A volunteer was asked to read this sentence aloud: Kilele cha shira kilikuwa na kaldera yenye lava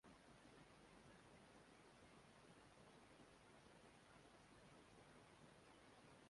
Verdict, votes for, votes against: rejected, 0, 2